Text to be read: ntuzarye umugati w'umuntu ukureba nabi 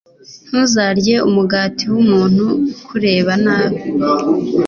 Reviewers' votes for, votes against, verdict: 2, 0, accepted